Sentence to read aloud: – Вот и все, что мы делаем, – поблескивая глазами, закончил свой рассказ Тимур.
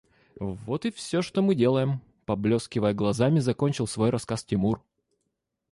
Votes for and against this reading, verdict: 1, 2, rejected